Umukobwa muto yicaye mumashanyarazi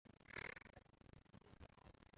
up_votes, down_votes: 0, 2